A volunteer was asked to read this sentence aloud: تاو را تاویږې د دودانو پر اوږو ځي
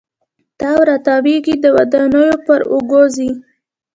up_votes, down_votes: 2, 1